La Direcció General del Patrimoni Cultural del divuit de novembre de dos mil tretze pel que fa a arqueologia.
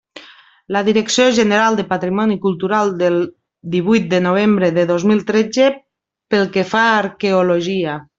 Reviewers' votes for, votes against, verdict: 1, 2, rejected